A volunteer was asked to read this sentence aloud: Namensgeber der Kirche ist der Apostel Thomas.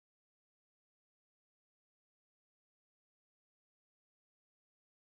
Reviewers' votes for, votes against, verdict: 0, 4, rejected